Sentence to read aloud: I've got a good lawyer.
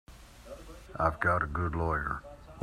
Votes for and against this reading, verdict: 2, 0, accepted